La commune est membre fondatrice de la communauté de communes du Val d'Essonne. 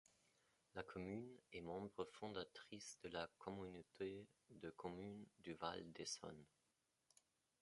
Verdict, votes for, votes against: rejected, 1, 2